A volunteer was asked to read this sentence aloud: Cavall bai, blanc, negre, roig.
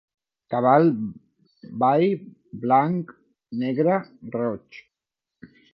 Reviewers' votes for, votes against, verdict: 2, 1, accepted